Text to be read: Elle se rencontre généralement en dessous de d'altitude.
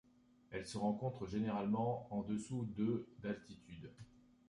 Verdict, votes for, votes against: rejected, 1, 2